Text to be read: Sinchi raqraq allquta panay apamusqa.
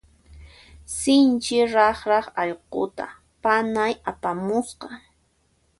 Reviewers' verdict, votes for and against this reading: accepted, 2, 0